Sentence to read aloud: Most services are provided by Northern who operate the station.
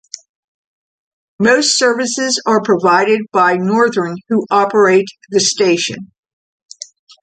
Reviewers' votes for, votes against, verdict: 2, 0, accepted